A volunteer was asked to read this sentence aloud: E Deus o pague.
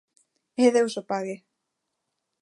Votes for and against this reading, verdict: 2, 0, accepted